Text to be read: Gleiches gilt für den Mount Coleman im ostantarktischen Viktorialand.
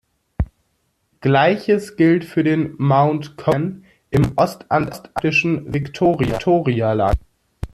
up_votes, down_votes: 0, 2